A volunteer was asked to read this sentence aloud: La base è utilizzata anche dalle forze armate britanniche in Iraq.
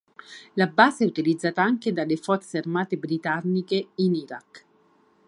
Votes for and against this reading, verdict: 4, 0, accepted